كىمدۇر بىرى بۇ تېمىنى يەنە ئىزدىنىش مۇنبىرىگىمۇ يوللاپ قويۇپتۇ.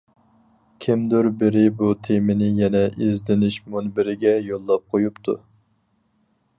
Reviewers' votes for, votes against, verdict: 0, 4, rejected